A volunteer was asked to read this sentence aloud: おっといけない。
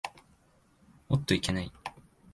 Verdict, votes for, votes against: accepted, 3, 0